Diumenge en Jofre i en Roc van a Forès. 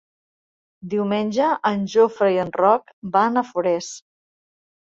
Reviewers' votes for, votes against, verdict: 7, 0, accepted